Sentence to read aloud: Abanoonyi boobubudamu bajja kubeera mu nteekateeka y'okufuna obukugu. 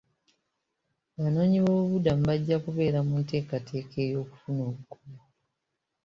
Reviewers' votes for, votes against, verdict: 0, 2, rejected